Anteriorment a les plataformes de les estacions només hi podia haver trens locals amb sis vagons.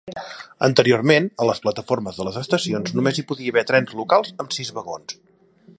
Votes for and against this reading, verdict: 3, 0, accepted